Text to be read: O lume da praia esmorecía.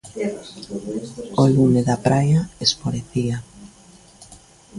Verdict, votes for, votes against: rejected, 1, 2